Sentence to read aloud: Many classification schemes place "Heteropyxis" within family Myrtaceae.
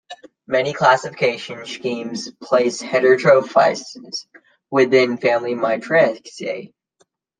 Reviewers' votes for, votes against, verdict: 0, 2, rejected